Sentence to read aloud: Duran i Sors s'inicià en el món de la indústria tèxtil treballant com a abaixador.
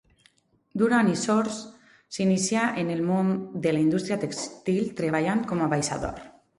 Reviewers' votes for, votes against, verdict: 4, 2, accepted